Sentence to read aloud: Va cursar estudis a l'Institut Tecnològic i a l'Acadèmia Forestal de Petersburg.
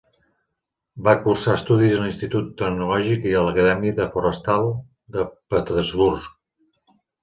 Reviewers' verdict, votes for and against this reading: rejected, 1, 3